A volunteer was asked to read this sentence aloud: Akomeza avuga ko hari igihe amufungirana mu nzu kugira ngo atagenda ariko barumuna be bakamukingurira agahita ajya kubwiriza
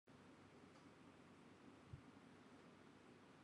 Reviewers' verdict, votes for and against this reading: rejected, 0, 3